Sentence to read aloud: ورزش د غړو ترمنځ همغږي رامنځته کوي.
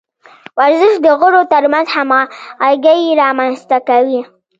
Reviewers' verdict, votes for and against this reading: rejected, 1, 2